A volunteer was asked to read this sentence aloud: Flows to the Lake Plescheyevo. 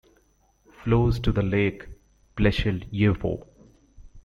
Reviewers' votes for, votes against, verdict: 2, 0, accepted